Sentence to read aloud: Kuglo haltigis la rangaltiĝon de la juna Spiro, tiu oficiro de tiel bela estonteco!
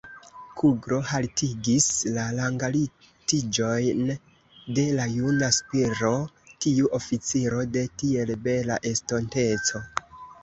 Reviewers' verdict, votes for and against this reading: rejected, 1, 2